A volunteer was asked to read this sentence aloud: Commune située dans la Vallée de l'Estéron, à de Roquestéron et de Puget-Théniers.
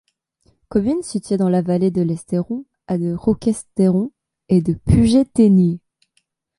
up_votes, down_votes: 1, 2